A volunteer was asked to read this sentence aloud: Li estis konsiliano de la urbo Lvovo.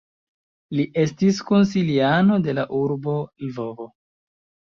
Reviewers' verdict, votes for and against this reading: accepted, 2, 0